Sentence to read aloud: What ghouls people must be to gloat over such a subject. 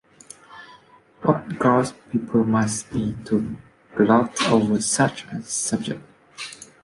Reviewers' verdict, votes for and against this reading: accepted, 2, 1